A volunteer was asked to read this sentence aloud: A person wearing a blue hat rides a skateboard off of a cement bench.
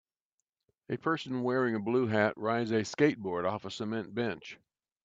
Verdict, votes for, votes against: accepted, 2, 0